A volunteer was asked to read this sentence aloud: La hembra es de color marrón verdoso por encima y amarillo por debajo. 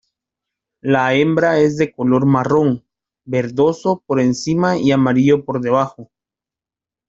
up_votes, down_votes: 2, 0